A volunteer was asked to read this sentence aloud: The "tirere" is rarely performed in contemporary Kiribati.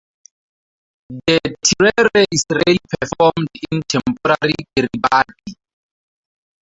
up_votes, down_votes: 0, 2